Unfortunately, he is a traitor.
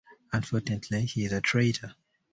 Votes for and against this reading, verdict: 2, 0, accepted